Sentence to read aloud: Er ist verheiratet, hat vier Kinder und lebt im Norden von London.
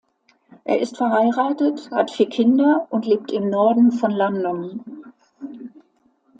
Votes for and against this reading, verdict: 2, 0, accepted